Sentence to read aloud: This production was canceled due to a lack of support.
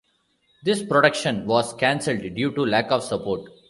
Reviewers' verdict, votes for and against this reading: rejected, 1, 2